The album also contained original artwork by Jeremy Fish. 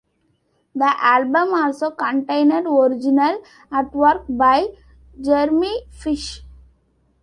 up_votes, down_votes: 1, 2